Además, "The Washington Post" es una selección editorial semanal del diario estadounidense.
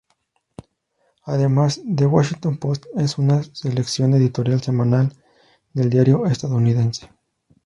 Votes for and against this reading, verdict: 0, 2, rejected